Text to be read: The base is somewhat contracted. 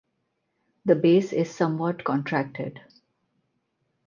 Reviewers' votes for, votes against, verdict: 4, 0, accepted